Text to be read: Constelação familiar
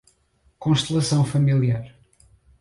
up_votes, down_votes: 2, 4